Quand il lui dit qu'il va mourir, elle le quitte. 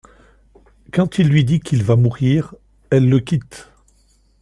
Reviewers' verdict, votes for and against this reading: accepted, 2, 0